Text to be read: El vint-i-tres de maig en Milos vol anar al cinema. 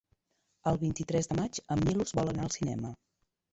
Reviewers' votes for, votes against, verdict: 1, 2, rejected